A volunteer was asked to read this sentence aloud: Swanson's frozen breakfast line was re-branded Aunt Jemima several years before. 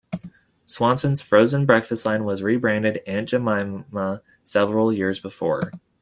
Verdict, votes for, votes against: rejected, 1, 2